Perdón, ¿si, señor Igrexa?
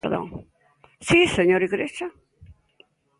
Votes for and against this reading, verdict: 2, 1, accepted